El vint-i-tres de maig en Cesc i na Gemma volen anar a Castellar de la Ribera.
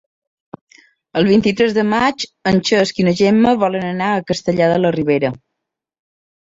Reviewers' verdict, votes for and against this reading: rejected, 0, 2